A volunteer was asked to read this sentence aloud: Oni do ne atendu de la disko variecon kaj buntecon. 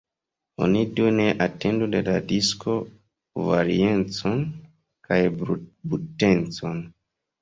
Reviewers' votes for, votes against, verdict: 0, 3, rejected